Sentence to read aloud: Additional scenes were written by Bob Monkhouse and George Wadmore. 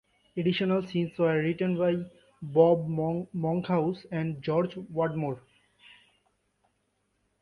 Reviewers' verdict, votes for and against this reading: rejected, 1, 2